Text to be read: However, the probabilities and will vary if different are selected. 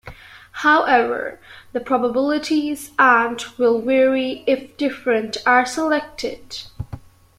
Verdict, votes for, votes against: accepted, 2, 1